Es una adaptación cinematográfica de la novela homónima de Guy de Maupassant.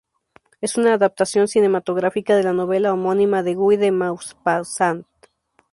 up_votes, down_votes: 0, 2